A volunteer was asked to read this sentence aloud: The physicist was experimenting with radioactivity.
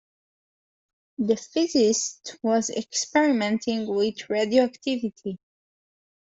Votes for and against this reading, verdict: 1, 2, rejected